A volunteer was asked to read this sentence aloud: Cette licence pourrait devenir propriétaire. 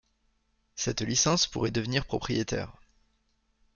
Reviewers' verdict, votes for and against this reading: accepted, 2, 0